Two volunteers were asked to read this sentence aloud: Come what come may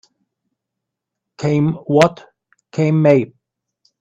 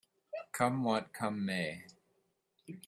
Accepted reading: second